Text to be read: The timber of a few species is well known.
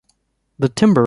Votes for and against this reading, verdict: 0, 2, rejected